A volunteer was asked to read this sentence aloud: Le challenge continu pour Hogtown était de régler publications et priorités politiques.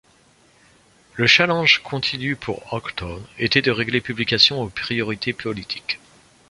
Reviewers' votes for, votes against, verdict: 0, 2, rejected